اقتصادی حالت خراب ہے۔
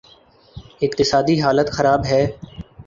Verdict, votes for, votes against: accepted, 3, 0